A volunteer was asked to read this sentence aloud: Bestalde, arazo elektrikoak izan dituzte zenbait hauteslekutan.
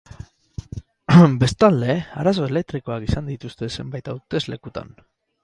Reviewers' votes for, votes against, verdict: 2, 4, rejected